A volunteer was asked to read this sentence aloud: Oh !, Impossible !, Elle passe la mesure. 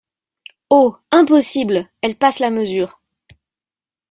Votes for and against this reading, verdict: 2, 0, accepted